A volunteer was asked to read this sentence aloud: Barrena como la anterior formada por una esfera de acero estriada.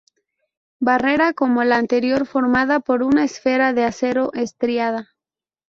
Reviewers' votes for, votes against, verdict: 0, 2, rejected